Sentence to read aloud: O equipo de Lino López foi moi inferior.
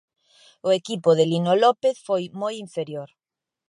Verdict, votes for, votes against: accepted, 2, 0